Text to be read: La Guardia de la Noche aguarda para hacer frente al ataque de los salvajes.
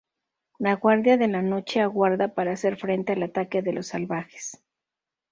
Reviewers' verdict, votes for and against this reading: rejected, 2, 2